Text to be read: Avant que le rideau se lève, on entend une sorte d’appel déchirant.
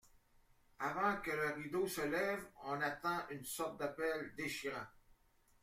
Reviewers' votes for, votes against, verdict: 2, 1, accepted